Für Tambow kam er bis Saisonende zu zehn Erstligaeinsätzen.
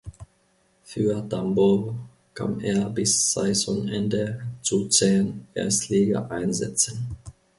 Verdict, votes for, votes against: rejected, 1, 2